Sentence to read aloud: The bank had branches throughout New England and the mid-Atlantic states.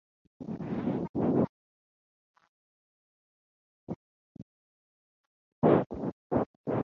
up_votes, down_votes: 0, 2